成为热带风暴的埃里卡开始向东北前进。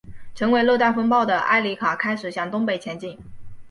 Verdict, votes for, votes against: accepted, 2, 1